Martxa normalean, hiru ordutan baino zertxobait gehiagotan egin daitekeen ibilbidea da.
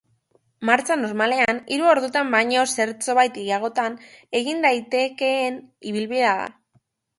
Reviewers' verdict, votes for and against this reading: accepted, 2, 1